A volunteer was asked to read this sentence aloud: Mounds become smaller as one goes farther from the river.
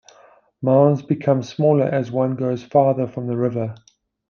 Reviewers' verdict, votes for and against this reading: accepted, 2, 0